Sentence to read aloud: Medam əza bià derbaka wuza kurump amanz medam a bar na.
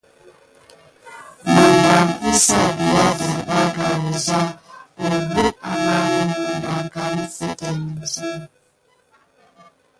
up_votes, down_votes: 0, 2